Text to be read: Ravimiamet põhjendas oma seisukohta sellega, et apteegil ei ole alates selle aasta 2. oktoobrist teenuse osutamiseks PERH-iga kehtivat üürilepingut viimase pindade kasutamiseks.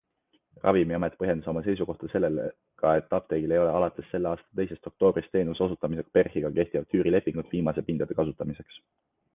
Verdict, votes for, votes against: rejected, 0, 2